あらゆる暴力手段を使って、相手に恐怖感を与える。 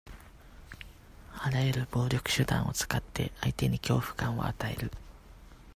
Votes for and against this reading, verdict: 2, 0, accepted